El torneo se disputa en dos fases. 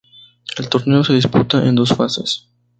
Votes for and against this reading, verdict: 4, 0, accepted